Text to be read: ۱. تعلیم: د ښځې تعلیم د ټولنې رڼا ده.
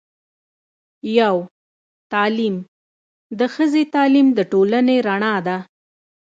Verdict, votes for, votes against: rejected, 0, 2